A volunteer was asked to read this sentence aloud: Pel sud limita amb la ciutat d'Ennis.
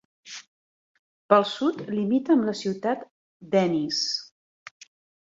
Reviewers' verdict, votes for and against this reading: accepted, 2, 0